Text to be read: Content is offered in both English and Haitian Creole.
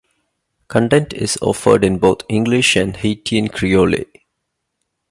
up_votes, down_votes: 1, 2